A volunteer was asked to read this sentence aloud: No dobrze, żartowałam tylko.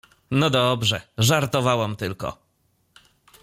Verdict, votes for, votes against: accepted, 2, 0